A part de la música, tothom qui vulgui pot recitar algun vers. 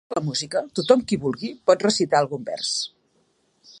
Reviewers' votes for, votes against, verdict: 2, 4, rejected